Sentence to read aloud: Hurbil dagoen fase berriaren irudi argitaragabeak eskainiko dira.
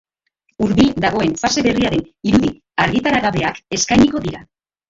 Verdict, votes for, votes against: rejected, 0, 2